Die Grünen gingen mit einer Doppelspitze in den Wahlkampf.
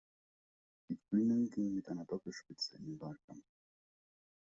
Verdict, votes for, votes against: rejected, 1, 2